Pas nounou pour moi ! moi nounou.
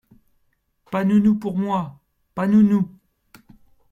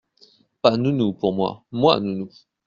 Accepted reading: second